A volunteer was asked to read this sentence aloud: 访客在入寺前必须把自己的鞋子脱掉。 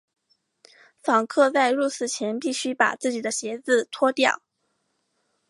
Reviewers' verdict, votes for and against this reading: accepted, 3, 0